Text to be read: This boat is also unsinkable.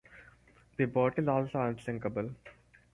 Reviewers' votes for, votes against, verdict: 0, 4, rejected